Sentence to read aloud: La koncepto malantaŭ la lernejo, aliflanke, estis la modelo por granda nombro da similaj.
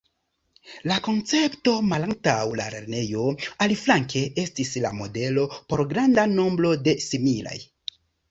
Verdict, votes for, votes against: rejected, 1, 2